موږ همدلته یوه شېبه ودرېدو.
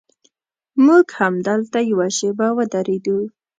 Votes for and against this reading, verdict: 2, 0, accepted